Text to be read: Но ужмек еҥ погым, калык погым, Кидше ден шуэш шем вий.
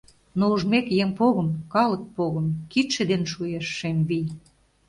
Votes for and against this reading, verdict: 2, 0, accepted